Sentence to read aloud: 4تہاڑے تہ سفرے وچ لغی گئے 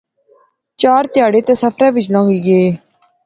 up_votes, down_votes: 0, 2